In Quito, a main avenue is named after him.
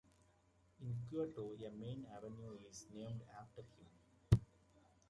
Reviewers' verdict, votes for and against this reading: rejected, 1, 2